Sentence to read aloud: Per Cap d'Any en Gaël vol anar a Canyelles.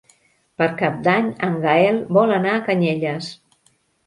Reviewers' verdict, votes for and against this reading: accepted, 3, 0